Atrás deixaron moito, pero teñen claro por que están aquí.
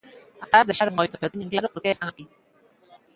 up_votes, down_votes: 0, 2